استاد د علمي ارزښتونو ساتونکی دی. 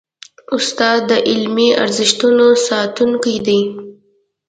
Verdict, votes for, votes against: accepted, 2, 0